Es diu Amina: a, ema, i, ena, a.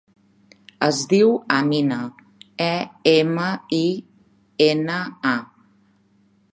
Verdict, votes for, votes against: rejected, 0, 2